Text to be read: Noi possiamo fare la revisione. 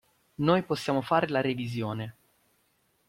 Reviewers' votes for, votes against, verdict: 2, 0, accepted